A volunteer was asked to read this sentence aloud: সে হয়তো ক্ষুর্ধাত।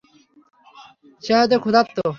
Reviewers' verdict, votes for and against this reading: rejected, 0, 3